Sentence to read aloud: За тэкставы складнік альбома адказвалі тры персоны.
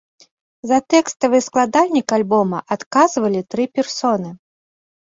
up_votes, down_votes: 0, 2